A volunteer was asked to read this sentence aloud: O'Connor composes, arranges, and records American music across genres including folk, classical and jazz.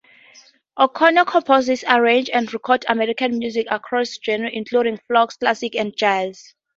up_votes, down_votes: 4, 0